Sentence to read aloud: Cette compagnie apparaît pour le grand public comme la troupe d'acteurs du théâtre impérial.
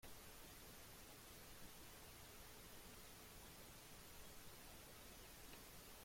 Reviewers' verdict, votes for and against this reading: rejected, 0, 3